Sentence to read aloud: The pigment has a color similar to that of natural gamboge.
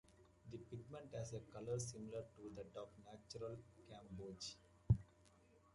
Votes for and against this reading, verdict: 1, 2, rejected